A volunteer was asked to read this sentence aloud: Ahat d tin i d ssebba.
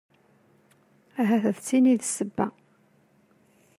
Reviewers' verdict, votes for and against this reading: accepted, 2, 0